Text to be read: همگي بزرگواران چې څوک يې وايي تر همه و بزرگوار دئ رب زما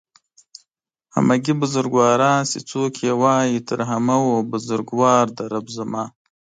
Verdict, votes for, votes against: accepted, 2, 0